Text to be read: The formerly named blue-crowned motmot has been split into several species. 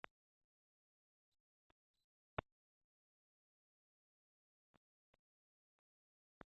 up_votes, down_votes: 0, 2